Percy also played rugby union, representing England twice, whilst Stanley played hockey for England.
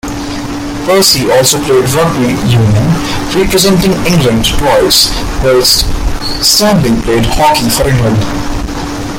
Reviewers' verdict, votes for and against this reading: rejected, 0, 2